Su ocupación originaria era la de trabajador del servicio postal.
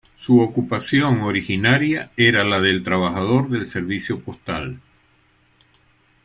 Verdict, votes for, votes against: rejected, 1, 2